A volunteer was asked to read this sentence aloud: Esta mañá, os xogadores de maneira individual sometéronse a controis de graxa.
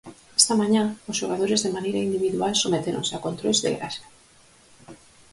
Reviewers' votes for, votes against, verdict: 4, 0, accepted